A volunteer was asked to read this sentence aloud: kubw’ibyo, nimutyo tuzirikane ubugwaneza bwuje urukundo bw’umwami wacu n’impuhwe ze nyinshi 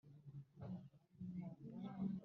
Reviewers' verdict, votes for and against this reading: rejected, 0, 2